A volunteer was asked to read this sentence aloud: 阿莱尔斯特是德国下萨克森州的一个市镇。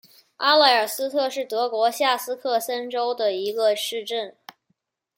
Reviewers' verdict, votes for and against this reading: accepted, 2, 0